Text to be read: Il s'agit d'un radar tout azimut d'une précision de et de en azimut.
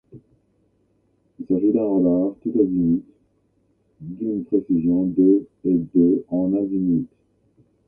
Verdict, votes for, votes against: accepted, 2, 1